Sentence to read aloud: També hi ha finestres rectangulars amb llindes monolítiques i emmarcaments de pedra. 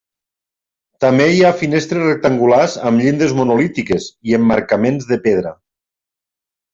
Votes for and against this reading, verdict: 3, 0, accepted